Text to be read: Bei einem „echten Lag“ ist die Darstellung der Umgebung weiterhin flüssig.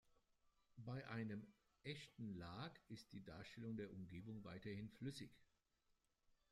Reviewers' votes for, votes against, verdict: 1, 2, rejected